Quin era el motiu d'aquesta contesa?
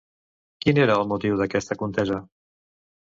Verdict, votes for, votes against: accepted, 2, 0